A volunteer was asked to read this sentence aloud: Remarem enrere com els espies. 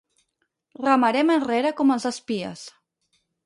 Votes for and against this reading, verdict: 4, 0, accepted